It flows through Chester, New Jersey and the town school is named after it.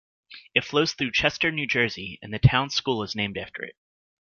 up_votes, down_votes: 2, 0